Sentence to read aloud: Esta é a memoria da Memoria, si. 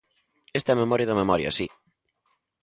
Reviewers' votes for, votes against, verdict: 2, 0, accepted